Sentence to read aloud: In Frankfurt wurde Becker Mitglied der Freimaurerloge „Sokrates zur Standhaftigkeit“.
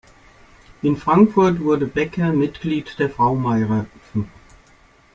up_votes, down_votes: 0, 2